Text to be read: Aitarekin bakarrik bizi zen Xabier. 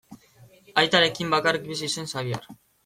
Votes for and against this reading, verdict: 2, 0, accepted